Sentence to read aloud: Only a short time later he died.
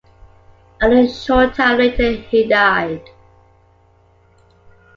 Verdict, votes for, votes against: accepted, 2, 0